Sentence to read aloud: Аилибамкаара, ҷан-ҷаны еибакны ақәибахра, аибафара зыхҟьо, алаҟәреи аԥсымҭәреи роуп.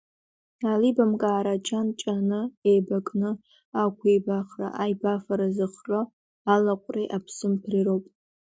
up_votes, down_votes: 2, 0